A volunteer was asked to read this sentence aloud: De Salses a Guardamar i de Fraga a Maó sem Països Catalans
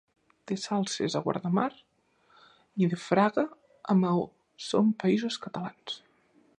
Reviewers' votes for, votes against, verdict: 8, 0, accepted